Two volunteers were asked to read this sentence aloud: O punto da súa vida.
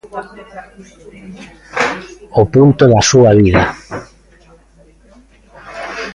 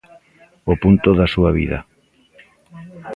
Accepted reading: second